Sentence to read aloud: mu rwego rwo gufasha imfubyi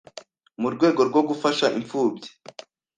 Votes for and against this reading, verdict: 2, 0, accepted